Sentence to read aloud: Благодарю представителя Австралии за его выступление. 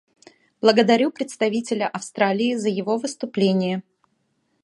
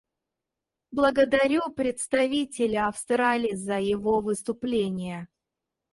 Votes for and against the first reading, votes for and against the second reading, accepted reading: 2, 0, 0, 4, first